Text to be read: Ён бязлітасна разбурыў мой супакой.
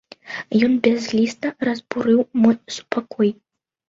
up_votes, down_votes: 0, 2